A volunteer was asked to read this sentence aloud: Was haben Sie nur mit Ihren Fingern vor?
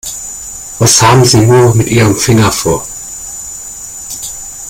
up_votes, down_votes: 1, 2